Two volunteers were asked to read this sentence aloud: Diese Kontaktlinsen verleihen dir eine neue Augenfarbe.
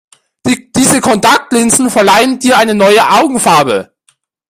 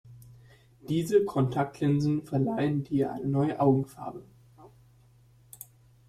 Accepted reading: first